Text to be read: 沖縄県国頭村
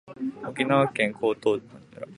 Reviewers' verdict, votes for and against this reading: rejected, 1, 2